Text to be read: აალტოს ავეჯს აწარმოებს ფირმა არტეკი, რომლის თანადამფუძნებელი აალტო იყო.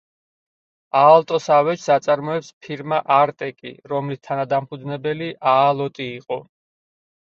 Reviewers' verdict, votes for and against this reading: rejected, 2, 4